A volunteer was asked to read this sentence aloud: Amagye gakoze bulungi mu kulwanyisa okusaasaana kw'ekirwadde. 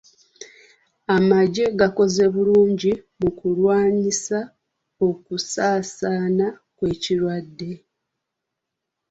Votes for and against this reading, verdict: 2, 0, accepted